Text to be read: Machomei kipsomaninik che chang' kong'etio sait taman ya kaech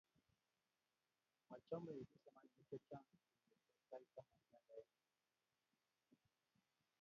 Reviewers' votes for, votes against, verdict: 0, 3, rejected